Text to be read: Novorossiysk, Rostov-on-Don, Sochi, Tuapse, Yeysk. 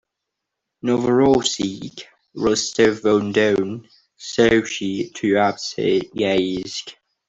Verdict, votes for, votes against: accepted, 2, 0